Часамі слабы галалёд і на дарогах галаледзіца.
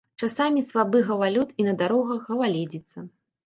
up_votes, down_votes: 1, 2